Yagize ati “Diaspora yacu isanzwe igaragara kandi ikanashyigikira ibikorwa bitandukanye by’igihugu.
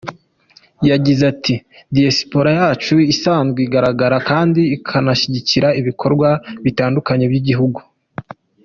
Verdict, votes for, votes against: accepted, 2, 1